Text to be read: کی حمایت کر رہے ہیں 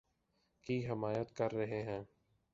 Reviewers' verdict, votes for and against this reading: rejected, 0, 2